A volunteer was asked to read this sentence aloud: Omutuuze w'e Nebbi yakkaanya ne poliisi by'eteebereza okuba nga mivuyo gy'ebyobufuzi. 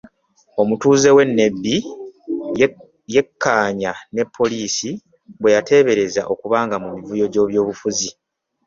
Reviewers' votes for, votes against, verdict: 0, 2, rejected